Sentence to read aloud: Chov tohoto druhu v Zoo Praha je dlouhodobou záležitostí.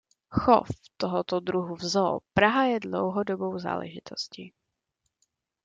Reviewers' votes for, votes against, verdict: 2, 0, accepted